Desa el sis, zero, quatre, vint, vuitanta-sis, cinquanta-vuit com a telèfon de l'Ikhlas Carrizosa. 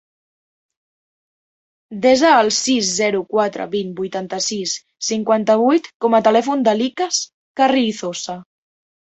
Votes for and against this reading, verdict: 2, 0, accepted